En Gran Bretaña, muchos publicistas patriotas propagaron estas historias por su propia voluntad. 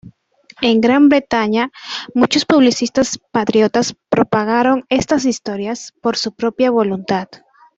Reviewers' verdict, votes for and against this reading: accepted, 2, 1